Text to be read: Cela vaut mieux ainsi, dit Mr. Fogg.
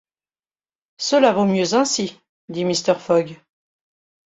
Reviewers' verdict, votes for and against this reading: rejected, 0, 2